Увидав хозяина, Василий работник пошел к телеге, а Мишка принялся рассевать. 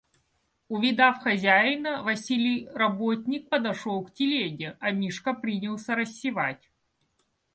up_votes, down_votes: 0, 2